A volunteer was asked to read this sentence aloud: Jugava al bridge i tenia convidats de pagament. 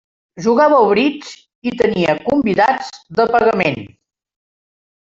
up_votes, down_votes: 2, 0